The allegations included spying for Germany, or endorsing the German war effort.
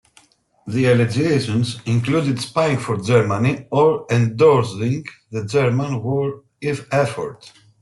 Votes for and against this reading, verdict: 1, 2, rejected